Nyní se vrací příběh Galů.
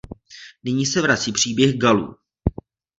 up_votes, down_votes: 2, 0